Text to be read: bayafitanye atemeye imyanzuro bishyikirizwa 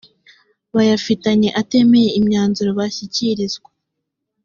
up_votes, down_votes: 2, 0